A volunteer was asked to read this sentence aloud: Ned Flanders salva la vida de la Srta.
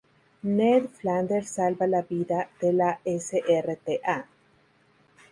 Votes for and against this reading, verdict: 0, 2, rejected